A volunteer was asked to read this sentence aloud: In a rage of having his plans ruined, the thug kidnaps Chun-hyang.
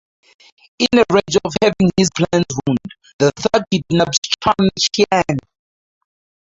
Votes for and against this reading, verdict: 0, 2, rejected